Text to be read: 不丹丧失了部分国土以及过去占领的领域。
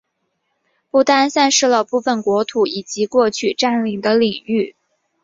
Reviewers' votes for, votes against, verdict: 4, 1, accepted